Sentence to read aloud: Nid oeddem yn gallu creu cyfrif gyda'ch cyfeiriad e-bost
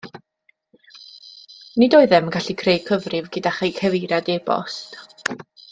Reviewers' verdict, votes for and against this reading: rejected, 1, 2